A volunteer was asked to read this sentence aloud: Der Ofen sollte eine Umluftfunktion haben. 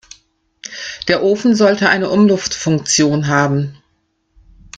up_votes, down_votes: 2, 0